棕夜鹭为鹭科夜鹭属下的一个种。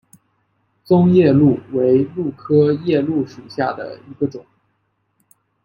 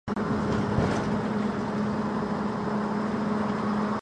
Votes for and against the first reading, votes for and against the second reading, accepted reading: 2, 0, 0, 2, first